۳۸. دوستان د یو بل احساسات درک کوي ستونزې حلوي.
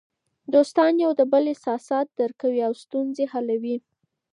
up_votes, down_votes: 0, 2